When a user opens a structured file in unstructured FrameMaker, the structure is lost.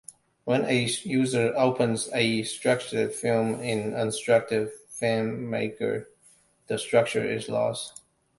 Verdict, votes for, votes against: rejected, 0, 2